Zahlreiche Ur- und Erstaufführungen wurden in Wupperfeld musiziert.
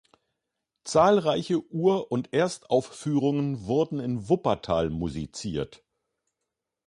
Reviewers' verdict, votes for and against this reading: rejected, 0, 2